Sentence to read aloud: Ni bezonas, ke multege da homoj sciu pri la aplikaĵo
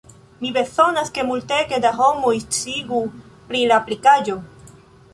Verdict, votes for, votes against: rejected, 1, 2